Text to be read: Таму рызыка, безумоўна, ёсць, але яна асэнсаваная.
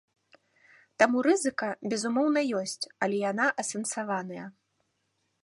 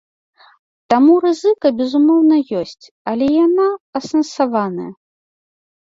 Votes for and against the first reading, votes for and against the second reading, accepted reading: 2, 0, 1, 2, first